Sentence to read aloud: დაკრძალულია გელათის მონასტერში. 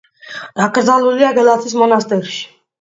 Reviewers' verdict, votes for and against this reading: accepted, 2, 1